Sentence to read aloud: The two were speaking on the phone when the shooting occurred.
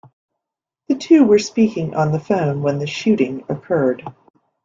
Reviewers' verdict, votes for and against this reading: accepted, 2, 0